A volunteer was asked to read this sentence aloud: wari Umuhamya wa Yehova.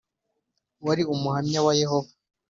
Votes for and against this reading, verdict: 6, 0, accepted